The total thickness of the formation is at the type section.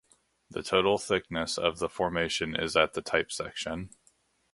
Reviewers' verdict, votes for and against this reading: accepted, 2, 0